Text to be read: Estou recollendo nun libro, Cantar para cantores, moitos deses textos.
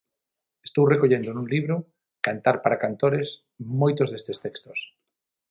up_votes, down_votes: 0, 6